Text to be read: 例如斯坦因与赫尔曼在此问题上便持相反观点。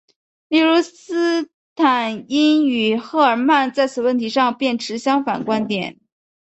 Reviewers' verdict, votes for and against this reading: accepted, 2, 0